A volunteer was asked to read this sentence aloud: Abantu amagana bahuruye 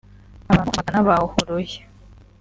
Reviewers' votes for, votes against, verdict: 1, 2, rejected